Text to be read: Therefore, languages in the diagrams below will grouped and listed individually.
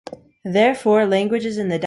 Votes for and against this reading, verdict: 0, 2, rejected